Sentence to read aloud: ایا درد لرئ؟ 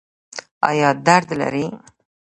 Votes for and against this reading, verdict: 1, 2, rejected